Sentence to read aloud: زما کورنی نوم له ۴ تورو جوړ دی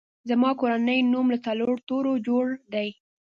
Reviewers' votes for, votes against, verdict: 0, 2, rejected